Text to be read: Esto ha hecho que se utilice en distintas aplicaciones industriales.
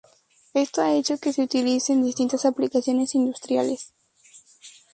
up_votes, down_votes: 2, 2